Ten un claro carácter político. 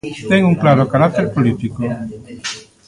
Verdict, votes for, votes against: rejected, 1, 2